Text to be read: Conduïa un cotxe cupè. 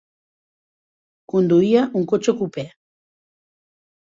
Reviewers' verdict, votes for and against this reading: accepted, 2, 0